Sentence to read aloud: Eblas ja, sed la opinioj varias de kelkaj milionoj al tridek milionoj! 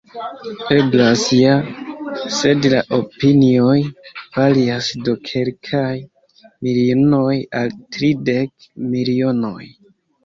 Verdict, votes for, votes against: rejected, 0, 2